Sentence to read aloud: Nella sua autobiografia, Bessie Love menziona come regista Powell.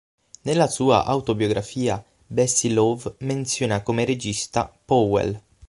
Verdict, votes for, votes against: rejected, 3, 6